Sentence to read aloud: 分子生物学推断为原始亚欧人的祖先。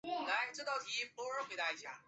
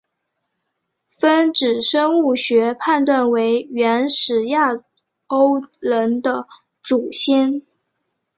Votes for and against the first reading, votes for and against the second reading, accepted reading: 2, 1, 3, 4, first